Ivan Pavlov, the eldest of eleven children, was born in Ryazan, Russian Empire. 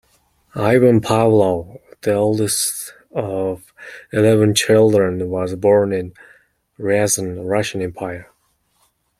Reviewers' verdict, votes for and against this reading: rejected, 0, 2